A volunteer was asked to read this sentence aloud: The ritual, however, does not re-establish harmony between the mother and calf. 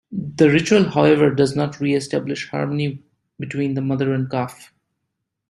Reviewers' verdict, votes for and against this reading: accepted, 2, 0